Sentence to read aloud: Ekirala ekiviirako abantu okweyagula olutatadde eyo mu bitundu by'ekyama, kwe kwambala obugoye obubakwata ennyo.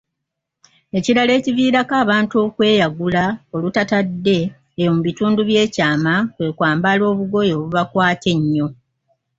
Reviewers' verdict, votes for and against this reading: accepted, 2, 0